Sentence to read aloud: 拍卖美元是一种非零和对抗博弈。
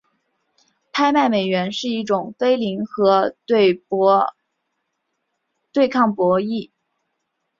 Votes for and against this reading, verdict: 1, 2, rejected